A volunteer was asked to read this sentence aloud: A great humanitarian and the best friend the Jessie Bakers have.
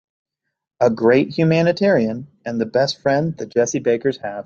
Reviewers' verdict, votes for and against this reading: accepted, 2, 0